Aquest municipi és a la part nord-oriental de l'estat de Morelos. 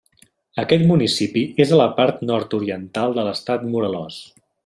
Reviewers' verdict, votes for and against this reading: rejected, 0, 2